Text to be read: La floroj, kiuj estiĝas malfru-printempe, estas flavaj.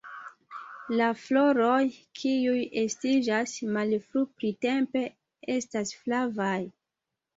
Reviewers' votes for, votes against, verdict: 0, 2, rejected